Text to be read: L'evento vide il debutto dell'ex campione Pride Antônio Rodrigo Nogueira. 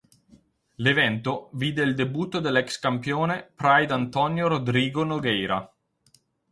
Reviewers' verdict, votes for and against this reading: accepted, 6, 0